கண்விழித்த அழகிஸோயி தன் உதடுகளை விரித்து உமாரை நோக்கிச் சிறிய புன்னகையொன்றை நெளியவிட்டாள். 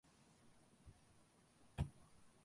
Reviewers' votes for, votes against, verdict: 0, 2, rejected